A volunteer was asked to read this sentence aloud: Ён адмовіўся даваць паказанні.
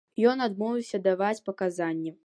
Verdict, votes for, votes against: accepted, 2, 0